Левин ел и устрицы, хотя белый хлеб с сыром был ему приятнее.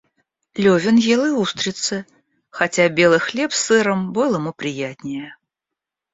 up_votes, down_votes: 1, 2